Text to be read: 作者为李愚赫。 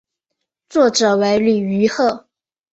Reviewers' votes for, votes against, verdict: 2, 0, accepted